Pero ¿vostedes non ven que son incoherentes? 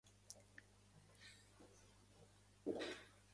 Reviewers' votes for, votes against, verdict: 0, 3, rejected